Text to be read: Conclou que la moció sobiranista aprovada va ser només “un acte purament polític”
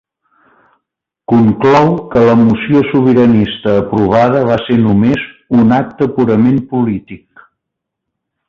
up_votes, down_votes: 2, 0